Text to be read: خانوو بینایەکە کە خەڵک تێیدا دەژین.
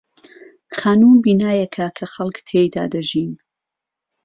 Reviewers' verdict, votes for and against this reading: accepted, 2, 0